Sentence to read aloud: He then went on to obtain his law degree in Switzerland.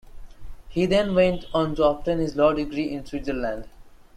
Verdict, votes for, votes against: accepted, 2, 0